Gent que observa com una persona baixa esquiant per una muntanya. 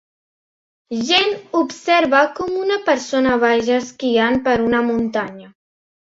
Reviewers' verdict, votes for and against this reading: rejected, 0, 2